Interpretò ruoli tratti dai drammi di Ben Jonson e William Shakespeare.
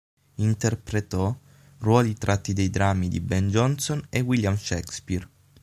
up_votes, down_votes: 6, 0